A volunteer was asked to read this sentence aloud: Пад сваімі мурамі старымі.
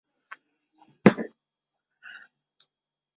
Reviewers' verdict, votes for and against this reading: rejected, 0, 2